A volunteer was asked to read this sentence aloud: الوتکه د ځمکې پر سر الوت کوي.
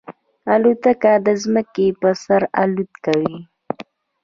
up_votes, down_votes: 0, 2